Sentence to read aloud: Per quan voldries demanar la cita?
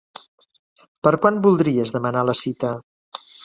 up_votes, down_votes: 3, 0